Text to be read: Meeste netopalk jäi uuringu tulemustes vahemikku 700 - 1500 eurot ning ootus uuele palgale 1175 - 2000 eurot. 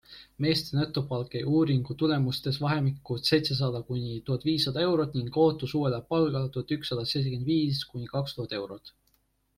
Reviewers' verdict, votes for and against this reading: rejected, 0, 2